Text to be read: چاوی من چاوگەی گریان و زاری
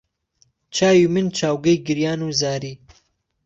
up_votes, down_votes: 2, 0